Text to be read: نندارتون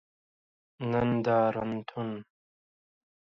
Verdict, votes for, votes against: rejected, 0, 2